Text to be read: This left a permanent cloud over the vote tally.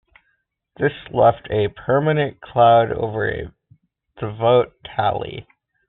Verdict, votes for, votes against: accepted, 2, 1